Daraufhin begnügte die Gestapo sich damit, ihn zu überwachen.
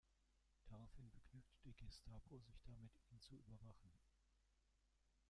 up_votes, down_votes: 0, 2